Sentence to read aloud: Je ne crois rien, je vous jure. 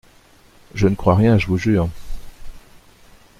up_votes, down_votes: 2, 0